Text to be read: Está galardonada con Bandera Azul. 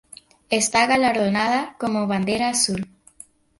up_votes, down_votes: 0, 2